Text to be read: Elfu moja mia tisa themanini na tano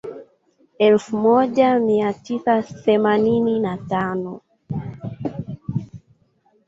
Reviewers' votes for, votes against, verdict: 1, 2, rejected